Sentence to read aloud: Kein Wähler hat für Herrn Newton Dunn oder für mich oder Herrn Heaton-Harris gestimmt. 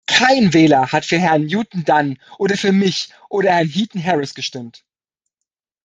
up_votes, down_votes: 2, 0